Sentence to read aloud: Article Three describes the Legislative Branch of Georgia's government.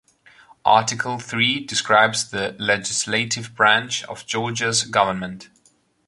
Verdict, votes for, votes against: accepted, 2, 0